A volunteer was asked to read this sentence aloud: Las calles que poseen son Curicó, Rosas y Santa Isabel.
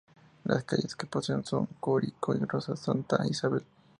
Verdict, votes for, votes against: rejected, 0, 2